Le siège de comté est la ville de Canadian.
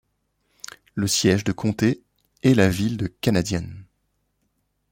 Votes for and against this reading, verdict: 2, 0, accepted